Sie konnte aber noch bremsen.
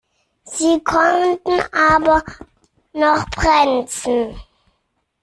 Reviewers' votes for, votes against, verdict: 0, 2, rejected